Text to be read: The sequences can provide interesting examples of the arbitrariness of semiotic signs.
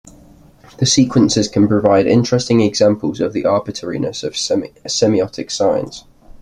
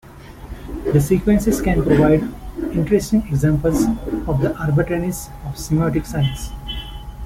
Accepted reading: second